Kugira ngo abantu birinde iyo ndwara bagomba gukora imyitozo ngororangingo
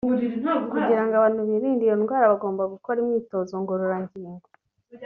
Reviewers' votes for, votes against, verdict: 1, 2, rejected